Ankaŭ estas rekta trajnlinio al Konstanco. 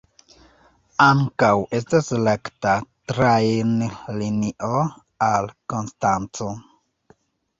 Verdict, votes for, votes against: rejected, 0, 2